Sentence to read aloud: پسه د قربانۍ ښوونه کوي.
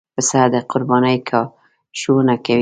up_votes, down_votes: 1, 2